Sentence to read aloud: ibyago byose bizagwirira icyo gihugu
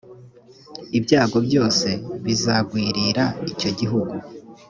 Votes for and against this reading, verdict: 2, 0, accepted